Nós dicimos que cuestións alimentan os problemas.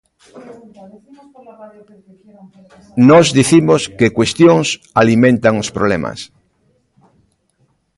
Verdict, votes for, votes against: rejected, 1, 2